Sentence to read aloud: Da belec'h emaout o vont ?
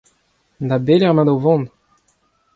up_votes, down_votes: 2, 0